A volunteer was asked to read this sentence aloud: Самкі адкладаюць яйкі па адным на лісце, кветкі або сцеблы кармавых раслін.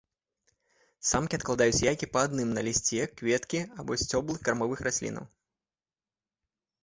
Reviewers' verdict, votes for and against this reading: rejected, 0, 2